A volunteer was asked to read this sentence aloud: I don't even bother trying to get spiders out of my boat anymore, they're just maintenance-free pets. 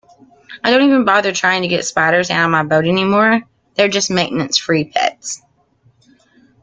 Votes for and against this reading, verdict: 2, 0, accepted